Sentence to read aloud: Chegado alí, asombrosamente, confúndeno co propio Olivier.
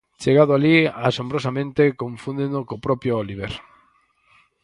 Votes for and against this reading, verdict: 2, 2, rejected